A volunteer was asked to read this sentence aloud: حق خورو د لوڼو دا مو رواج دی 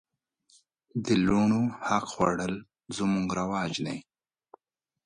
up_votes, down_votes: 1, 2